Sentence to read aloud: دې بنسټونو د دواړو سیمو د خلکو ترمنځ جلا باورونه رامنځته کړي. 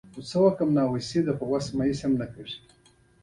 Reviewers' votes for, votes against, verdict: 1, 2, rejected